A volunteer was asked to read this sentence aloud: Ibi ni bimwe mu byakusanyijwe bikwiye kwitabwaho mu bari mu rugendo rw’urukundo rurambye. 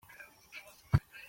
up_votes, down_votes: 0, 3